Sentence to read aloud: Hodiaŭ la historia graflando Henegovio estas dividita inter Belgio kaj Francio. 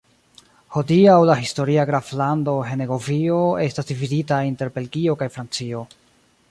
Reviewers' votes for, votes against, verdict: 2, 0, accepted